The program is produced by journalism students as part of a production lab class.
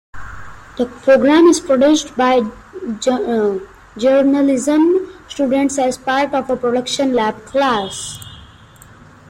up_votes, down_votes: 0, 2